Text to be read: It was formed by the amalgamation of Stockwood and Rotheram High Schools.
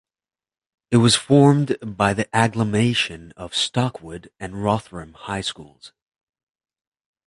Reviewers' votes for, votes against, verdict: 0, 2, rejected